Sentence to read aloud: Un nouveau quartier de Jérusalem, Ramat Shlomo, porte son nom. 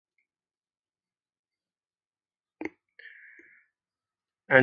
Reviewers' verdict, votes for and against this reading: rejected, 1, 2